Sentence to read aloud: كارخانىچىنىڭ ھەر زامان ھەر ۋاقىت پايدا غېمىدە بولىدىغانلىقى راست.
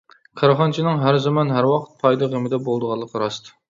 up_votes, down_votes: 2, 0